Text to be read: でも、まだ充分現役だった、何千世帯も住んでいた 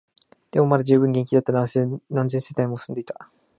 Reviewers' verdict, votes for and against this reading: rejected, 0, 2